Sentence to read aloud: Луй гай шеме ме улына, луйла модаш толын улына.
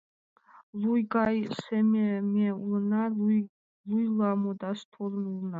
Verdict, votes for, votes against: rejected, 1, 2